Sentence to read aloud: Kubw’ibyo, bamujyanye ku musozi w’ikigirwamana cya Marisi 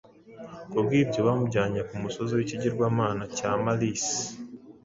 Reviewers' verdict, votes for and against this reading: rejected, 0, 2